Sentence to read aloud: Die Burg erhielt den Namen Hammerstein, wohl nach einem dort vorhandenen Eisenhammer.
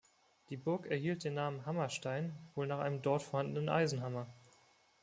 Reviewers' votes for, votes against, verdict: 2, 0, accepted